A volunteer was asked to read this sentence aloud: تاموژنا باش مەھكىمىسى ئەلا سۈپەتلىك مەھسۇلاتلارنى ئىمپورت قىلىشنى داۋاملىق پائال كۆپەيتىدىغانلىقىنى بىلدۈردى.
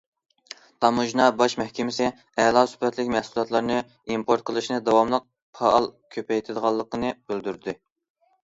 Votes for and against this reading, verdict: 2, 0, accepted